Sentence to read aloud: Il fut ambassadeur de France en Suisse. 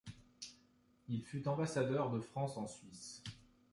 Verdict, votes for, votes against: accepted, 2, 0